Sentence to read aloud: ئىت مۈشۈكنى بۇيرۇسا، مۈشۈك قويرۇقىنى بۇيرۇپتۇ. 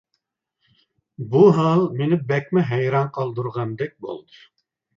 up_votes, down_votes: 0, 2